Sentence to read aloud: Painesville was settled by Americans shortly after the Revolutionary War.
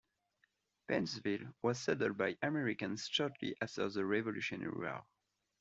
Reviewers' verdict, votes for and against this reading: accepted, 2, 0